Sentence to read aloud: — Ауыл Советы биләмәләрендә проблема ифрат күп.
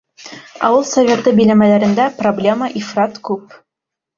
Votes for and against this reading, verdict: 3, 0, accepted